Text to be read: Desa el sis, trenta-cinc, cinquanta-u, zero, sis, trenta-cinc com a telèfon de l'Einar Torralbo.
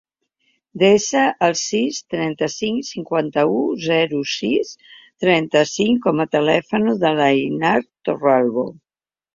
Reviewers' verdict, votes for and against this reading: rejected, 0, 2